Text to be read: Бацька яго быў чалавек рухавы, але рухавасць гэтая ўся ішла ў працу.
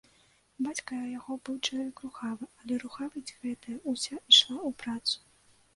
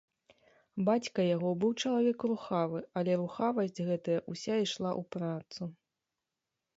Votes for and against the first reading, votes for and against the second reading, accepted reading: 0, 2, 2, 0, second